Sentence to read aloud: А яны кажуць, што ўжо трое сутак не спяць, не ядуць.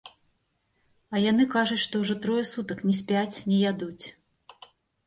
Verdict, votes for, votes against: rejected, 0, 2